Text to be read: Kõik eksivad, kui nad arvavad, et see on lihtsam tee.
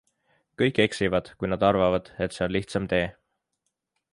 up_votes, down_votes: 2, 0